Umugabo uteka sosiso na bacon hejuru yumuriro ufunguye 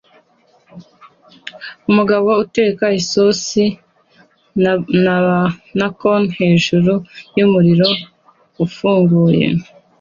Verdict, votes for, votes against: accepted, 2, 0